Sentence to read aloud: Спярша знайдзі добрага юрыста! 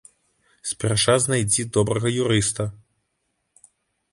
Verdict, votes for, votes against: accepted, 2, 0